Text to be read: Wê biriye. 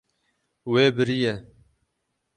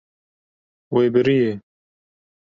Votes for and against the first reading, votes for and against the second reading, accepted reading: 6, 0, 1, 2, first